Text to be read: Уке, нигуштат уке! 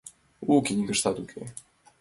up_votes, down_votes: 1, 2